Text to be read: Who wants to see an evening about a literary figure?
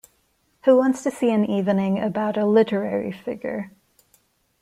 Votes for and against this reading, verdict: 2, 0, accepted